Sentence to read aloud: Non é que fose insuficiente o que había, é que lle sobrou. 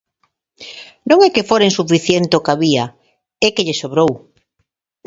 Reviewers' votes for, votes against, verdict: 1, 2, rejected